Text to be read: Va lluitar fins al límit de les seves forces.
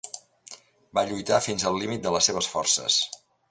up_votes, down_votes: 2, 0